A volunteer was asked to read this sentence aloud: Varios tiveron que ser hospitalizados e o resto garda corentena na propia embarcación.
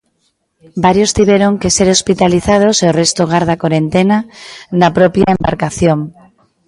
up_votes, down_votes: 2, 0